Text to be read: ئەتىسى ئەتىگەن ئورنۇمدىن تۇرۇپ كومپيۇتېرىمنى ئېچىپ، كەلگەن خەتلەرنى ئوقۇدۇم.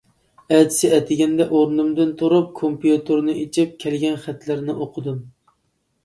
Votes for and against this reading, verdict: 1, 2, rejected